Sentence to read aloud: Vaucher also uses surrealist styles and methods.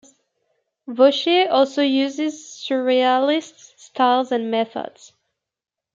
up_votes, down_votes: 0, 2